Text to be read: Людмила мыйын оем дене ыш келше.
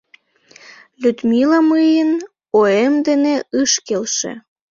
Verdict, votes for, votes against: rejected, 1, 2